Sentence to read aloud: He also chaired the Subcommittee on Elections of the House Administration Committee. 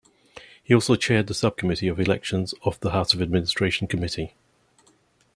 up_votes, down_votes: 1, 2